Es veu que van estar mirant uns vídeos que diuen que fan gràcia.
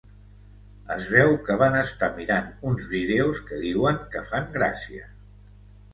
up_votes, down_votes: 2, 0